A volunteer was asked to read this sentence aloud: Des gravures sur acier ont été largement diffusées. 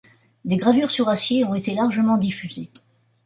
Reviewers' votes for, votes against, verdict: 1, 2, rejected